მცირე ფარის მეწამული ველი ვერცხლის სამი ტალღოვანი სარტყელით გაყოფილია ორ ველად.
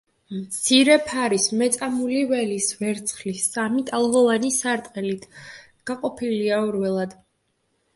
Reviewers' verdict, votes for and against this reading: rejected, 1, 2